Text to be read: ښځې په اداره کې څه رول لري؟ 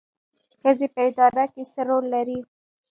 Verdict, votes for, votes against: rejected, 0, 2